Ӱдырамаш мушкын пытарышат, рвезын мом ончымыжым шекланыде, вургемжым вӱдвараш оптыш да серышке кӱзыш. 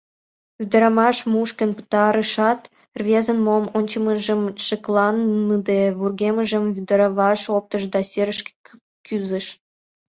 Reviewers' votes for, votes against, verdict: 2, 0, accepted